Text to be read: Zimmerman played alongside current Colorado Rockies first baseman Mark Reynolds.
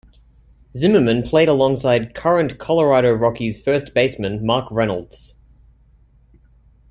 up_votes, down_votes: 2, 1